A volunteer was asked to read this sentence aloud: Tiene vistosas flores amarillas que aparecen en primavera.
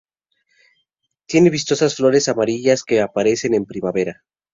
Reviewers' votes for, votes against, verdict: 2, 0, accepted